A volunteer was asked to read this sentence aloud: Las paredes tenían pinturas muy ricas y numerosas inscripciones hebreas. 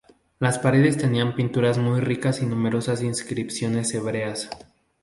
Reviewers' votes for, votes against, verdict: 2, 0, accepted